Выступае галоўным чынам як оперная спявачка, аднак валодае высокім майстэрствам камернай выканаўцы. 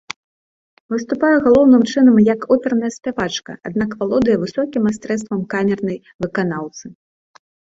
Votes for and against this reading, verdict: 2, 1, accepted